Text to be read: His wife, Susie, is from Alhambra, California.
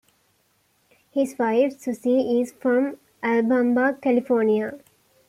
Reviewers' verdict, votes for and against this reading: rejected, 0, 2